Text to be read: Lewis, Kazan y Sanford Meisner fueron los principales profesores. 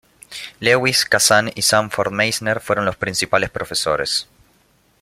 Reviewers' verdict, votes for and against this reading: accepted, 2, 0